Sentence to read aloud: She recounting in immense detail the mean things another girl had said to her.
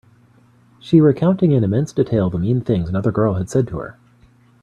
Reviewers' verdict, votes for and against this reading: accepted, 2, 1